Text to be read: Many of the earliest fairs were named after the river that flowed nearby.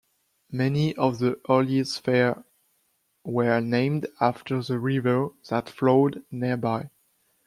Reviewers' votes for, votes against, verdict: 1, 2, rejected